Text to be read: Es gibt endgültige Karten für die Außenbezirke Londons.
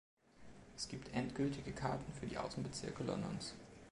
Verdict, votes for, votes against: accepted, 2, 0